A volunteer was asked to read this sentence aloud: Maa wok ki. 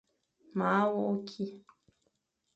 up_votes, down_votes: 2, 0